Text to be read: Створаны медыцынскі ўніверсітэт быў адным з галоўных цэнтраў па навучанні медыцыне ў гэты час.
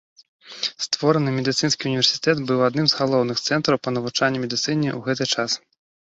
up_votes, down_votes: 2, 0